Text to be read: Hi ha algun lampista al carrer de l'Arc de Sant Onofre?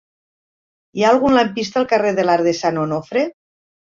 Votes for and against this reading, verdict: 3, 1, accepted